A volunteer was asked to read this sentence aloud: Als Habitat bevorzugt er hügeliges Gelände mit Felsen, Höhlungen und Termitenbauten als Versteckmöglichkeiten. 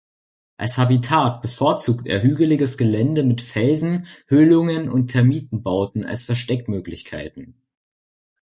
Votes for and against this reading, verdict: 2, 0, accepted